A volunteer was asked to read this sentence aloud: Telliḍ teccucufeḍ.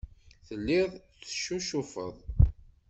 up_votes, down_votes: 2, 0